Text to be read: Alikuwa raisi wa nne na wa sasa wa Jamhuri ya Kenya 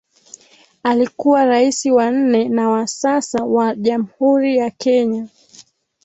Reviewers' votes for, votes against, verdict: 2, 0, accepted